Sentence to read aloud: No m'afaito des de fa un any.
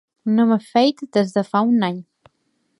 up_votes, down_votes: 1, 2